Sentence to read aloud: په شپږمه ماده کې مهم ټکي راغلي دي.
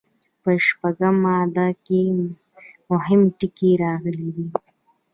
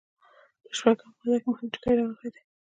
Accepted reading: first